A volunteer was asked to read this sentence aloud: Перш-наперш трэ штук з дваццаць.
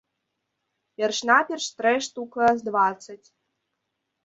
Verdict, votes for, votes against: rejected, 0, 2